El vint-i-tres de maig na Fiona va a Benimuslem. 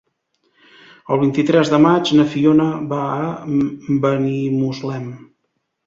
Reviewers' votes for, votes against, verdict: 1, 2, rejected